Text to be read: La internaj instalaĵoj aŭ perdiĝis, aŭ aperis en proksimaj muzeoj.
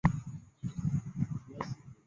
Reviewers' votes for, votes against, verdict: 1, 2, rejected